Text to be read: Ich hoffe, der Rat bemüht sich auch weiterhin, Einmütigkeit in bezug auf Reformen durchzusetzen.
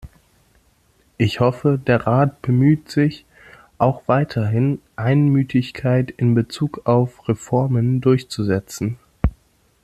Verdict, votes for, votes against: accepted, 2, 0